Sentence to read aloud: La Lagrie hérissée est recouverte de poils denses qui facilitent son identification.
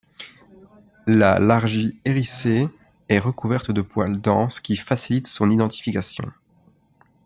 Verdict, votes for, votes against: rejected, 0, 2